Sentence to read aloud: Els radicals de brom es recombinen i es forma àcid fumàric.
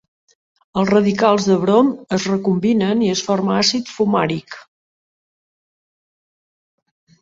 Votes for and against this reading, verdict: 4, 0, accepted